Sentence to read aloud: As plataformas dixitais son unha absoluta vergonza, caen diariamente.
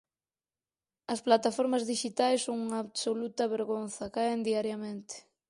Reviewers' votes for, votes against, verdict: 4, 0, accepted